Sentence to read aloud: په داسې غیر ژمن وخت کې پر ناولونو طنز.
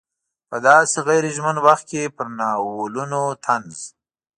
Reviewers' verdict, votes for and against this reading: accepted, 2, 0